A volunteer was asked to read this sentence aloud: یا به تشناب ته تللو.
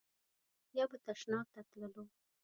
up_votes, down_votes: 2, 0